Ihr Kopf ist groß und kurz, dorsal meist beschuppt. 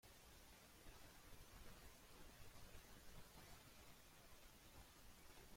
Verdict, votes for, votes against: rejected, 0, 2